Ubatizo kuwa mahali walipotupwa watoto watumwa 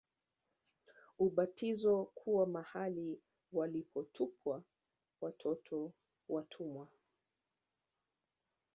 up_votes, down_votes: 1, 2